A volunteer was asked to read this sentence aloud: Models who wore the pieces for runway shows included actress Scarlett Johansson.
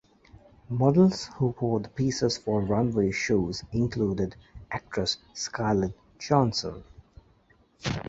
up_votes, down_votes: 0, 2